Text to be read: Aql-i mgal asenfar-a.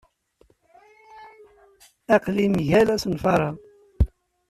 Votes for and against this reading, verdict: 2, 0, accepted